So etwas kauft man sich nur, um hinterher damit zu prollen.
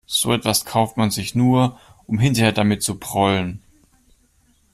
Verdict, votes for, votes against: accepted, 2, 0